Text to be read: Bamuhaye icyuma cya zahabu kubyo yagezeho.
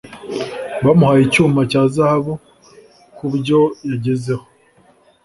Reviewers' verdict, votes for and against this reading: accepted, 2, 0